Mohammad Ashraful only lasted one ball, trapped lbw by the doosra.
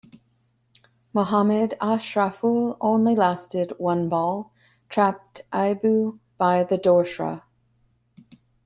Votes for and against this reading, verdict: 1, 3, rejected